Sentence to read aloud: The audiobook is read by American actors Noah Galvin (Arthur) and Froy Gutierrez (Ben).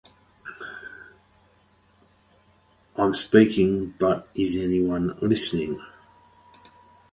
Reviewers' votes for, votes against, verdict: 0, 2, rejected